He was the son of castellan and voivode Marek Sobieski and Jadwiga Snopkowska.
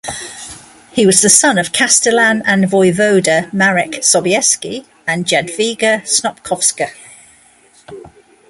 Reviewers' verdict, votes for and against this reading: accepted, 2, 1